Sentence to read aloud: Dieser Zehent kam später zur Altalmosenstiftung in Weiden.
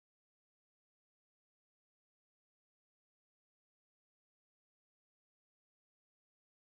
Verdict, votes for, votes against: rejected, 0, 4